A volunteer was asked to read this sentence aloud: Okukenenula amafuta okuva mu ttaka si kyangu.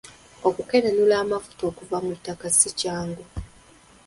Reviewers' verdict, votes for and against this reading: rejected, 1, 2